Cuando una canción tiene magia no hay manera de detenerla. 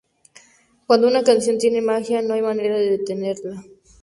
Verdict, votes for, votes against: accepted, 2, 0